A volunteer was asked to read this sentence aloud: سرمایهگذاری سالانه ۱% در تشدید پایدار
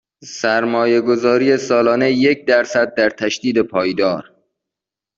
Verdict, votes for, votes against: rejected, 0, 2